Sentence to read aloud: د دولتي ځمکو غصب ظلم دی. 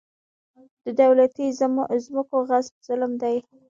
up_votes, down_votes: 2, 1